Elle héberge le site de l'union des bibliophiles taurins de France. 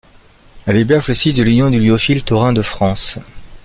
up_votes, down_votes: 1, 2